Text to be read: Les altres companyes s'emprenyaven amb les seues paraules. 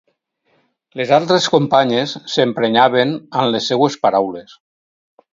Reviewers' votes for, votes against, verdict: 6, 0, accepted